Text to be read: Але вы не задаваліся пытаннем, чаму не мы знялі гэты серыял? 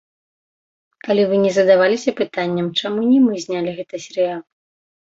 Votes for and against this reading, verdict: 0, 2, rejected